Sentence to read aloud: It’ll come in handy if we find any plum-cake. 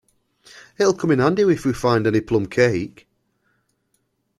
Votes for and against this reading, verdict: 2, 0, accepted